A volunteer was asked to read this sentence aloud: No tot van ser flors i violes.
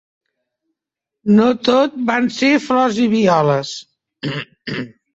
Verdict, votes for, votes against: accepted, 2, 0